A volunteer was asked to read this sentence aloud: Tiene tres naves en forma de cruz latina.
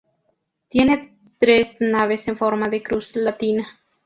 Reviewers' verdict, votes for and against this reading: accepted, 2, 0